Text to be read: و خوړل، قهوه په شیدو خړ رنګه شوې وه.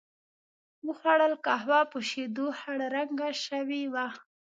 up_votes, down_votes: 2, 0